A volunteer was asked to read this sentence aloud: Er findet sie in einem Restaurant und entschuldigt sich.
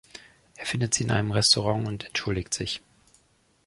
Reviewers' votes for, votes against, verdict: 2, 0, accepted